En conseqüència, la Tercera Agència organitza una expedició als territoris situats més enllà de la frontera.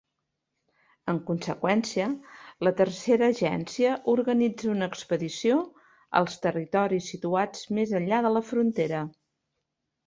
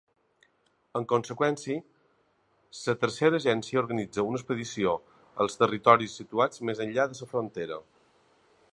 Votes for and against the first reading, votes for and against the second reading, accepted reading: 3, 0, 1, 2, first